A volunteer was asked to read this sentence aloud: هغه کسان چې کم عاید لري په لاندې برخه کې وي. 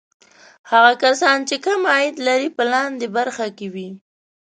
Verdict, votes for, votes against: accepted, 5, 0